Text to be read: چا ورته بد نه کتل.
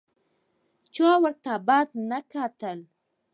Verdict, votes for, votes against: accepted, 2, 0